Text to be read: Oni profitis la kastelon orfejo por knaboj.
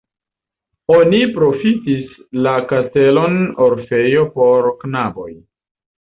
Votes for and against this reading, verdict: 2, 0, accepted